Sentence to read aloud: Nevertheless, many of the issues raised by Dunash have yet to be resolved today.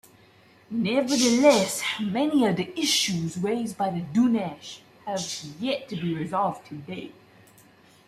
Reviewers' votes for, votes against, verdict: 2, 0, accepted